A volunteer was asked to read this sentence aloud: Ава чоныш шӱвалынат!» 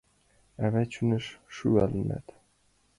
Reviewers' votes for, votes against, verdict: 2, 0, accepted